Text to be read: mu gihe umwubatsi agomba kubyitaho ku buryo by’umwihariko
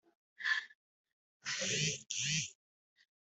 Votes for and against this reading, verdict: 1, 2, rejected